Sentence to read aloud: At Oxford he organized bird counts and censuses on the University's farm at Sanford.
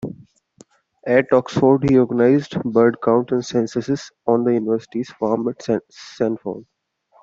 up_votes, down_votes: 0, 2